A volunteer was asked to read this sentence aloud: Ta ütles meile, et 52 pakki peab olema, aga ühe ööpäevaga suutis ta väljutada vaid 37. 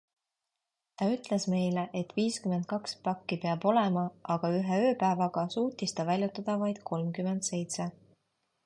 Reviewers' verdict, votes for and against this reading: rejected, 0, 2